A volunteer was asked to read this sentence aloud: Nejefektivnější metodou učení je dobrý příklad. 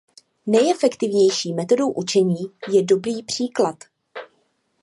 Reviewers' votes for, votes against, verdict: 2, 0, accepted